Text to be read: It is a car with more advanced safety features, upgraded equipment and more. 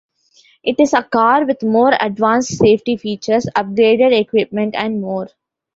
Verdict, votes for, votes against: accepted, 2, 0